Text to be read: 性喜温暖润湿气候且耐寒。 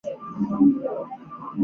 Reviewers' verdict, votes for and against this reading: rejected, 0, 3